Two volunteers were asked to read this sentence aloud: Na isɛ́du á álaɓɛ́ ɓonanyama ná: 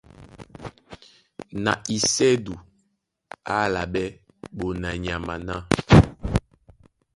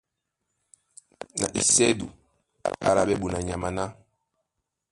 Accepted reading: first